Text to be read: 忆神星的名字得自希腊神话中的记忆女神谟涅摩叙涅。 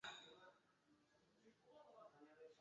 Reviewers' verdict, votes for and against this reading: rejected, 0, 2